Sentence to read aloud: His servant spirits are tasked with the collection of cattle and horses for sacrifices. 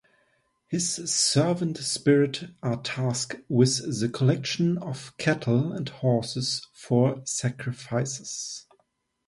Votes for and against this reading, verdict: 0, 2, rejected